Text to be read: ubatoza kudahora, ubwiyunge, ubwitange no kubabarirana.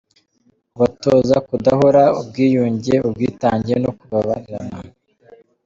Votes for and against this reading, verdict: 2, 0, accepted